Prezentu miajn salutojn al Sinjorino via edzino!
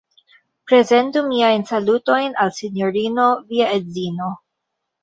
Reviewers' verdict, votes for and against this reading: accepted, 2, 1